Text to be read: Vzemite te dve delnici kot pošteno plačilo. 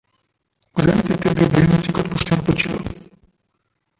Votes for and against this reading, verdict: 0, 2, rejected